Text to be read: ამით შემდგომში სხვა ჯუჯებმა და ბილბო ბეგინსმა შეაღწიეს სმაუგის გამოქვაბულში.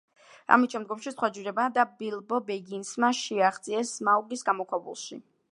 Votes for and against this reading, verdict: 2, 0, accepted